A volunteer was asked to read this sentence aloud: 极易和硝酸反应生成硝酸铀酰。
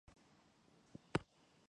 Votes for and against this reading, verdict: 2, 3, rejected